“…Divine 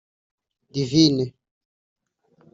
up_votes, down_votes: 2, 3